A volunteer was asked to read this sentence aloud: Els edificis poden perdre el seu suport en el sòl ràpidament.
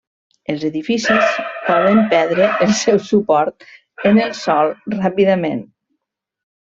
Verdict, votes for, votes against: rejected, 0, 2